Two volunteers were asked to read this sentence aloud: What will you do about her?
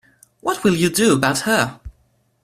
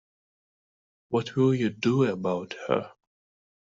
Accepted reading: first